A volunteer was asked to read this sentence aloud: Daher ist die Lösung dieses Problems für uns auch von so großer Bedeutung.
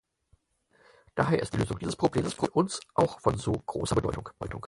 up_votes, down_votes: 0, 4